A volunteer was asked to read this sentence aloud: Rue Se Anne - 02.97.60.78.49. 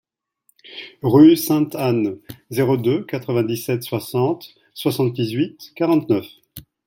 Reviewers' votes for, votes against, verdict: 0, 2, rejected